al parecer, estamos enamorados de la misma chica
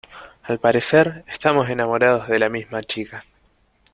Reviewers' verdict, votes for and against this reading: accepted, 2, 0